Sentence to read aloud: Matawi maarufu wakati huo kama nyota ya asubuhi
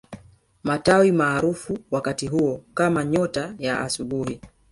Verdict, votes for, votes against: rejected, 1, 2